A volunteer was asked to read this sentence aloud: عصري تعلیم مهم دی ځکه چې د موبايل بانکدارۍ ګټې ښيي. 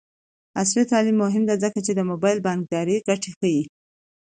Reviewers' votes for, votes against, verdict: 2, 0, accepted